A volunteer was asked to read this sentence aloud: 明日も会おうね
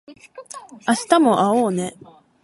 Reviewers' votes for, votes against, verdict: 1, 2, rejected